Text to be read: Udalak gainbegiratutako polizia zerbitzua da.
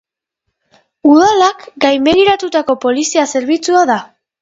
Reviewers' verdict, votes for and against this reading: accepted, 2, 0